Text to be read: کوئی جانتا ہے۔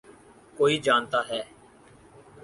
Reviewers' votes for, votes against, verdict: 4, 0, accepted